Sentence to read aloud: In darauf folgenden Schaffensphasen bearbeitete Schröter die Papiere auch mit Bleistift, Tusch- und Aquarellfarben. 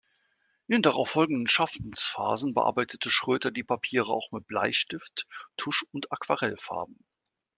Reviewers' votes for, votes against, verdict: 2, 0, accepted